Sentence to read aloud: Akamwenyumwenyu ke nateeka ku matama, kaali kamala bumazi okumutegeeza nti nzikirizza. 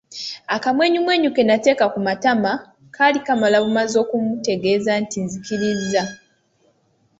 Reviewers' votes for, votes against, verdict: 2, 0, accepted